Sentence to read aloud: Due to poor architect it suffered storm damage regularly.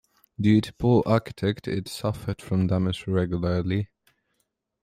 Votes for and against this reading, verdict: 0, 2, rejected